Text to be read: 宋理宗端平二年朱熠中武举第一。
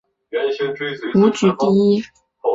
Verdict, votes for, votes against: rejected, 0, 2